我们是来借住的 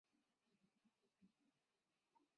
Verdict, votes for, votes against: rejected, 2, 3